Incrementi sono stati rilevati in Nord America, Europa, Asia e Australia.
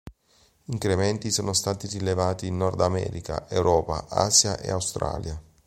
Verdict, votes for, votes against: rejected, 1, 2